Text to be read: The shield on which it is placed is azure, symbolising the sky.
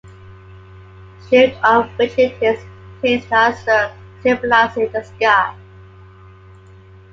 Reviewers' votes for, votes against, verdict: 0, 2, rejected